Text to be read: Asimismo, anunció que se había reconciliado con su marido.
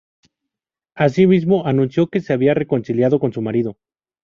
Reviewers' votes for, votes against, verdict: 2, 0, accepted